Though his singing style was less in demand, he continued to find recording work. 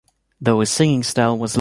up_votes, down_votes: 1, 2